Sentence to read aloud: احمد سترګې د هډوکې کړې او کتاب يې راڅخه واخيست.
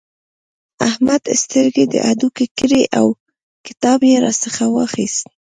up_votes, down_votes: 1, 2